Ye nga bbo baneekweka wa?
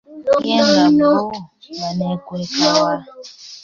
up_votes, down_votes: 2, 1